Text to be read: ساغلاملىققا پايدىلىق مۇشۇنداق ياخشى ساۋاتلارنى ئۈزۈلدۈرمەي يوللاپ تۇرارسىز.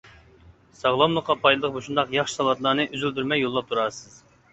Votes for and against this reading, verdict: 3, 0, accepted